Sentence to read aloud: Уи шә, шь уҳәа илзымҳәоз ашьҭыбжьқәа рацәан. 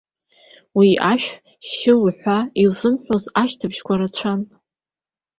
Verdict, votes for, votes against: accepted, 2, 0